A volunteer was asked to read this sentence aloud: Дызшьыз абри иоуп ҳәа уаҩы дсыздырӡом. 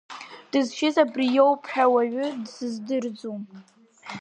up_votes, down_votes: 2, 0